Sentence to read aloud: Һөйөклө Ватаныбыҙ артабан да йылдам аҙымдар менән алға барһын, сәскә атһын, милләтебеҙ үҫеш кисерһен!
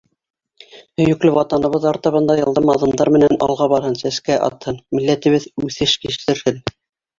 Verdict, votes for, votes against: rejected, 2, 3